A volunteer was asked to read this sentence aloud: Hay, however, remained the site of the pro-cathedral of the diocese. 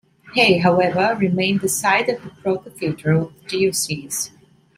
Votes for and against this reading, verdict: 1, 2, rejected